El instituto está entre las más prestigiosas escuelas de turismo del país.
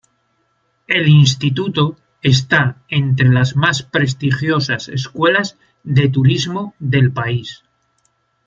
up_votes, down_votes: 2, 1